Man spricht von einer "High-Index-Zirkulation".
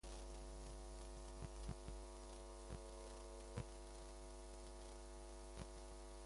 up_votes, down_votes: 0, 2